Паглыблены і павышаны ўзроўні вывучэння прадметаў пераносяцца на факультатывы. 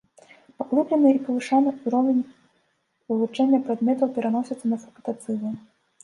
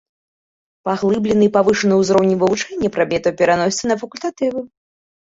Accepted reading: second